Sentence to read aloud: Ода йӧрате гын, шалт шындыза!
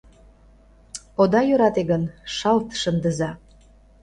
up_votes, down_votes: 2, 0